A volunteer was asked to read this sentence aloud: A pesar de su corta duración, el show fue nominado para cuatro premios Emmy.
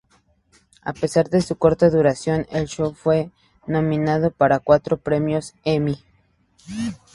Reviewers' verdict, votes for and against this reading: accepted, 4, 0